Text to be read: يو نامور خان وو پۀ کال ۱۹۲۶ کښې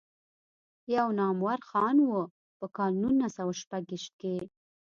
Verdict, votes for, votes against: rejected, 0, 2